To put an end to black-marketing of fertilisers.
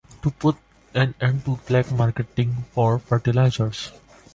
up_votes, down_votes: 1, 2